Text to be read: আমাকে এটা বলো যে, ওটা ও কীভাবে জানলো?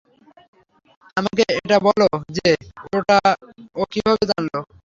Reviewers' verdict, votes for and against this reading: rejected, 0, 3